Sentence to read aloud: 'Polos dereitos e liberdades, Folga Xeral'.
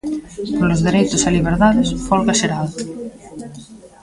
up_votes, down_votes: 0, 2